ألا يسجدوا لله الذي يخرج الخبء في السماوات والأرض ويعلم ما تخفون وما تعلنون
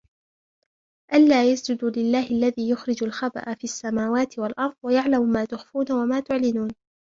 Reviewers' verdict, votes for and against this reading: rejected, 0, 2